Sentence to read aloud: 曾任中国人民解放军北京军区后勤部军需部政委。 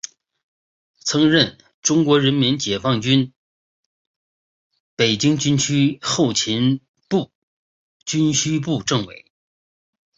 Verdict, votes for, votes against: rejected, 1, 2